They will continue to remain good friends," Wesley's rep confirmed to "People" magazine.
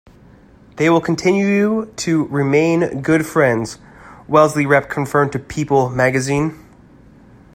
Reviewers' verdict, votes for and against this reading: rejected, 1, 2